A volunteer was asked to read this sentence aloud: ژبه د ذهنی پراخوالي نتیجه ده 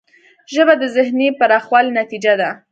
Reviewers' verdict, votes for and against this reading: accepted, 2, 0